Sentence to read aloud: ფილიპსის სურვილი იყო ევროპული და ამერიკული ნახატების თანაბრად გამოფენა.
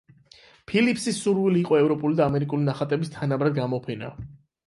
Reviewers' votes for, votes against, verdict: 8, 0, accepted